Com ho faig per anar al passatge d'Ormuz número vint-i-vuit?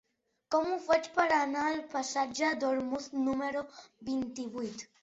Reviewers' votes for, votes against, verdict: 3, 0, accepted